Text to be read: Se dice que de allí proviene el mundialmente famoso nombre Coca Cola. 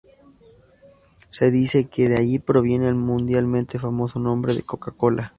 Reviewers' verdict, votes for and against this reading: accepted, 2, 0